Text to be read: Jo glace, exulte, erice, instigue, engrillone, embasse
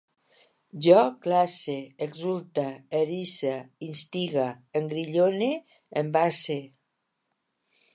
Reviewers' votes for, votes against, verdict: 0, 2, rejected